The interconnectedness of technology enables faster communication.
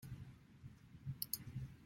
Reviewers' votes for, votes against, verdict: 0, 2, rejected